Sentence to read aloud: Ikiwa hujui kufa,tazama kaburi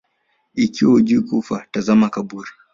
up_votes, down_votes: 3, 0